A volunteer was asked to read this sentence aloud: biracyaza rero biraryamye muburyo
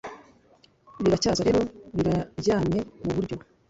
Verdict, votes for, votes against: rejected, 1, 2